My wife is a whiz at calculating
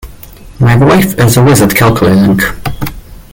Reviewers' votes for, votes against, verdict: 1, 2, rejected